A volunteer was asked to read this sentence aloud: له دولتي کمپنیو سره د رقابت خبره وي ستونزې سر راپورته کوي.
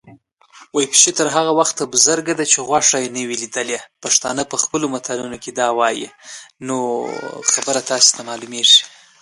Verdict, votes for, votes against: rejected, 1, 2